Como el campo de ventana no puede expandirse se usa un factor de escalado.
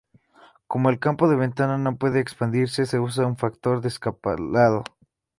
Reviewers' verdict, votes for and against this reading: rejected, 2, 2